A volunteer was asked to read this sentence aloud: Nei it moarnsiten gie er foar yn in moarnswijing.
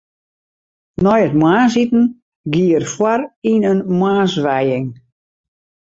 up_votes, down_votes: 4, 0